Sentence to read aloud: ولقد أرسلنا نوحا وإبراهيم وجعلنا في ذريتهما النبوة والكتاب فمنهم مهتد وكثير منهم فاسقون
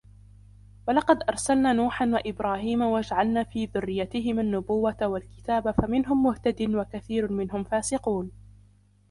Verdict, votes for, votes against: rejected, 1, 2